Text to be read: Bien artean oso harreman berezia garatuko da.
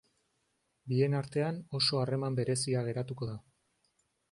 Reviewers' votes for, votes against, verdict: 0, 2, rejected